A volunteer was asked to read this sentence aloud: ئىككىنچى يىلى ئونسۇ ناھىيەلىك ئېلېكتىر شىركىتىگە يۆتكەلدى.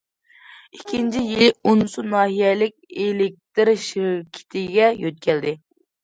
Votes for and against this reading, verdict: 2, 0, accepted